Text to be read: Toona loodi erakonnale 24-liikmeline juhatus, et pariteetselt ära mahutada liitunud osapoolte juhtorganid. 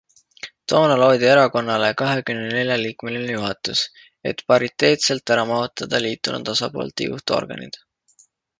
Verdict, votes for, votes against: rejected, 0, 2